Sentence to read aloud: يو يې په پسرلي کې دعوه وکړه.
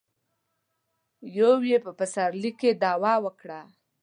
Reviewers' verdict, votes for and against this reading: accepted, 2, 0